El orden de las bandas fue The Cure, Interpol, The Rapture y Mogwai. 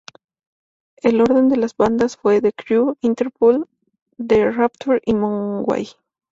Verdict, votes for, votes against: accepted, 2, 0